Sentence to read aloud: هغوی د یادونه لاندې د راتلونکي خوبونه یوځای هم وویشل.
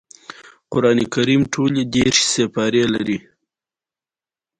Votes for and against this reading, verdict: 2, 0, accepted